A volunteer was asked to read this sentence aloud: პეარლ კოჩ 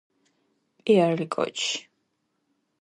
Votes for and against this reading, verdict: 1, 2, rejected